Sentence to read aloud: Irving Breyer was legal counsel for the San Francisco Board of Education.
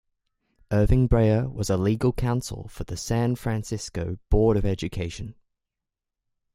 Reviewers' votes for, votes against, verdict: 0, 2, rejected